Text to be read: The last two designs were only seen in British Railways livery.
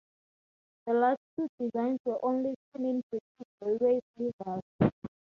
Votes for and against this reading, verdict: 0, 2, rejected